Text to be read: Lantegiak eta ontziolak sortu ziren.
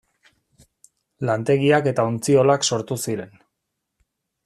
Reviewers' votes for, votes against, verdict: 2, 0, accepted